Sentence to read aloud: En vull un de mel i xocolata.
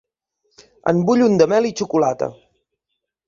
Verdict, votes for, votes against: accepted, 3, 1